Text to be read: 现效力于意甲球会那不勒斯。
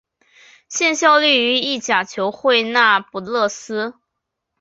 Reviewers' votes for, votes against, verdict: 1, 2, rejected